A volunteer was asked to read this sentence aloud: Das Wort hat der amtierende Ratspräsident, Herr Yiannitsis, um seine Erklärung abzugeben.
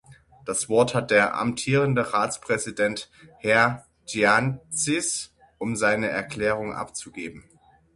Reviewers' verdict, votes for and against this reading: rejected, 0, 9